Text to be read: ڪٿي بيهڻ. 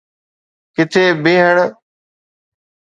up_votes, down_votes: 2, 0